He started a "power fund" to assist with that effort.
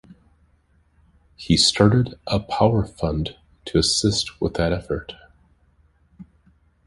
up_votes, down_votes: 2, 0